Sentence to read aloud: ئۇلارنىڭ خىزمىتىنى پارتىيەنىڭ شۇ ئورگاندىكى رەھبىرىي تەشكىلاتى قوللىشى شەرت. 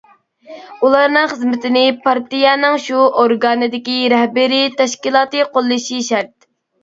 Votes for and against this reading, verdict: 0, 2, rejected